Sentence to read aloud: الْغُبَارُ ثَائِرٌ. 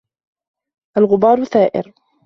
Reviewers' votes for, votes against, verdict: 2, 0, accepted